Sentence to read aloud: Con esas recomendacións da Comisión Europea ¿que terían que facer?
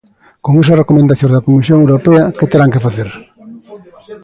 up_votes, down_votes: 0, 2